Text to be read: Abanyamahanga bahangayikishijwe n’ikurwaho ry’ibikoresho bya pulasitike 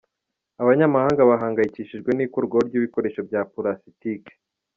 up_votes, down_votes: 2, 1